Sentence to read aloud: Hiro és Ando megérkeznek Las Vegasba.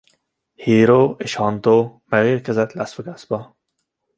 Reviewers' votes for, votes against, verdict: 0, 2, rejected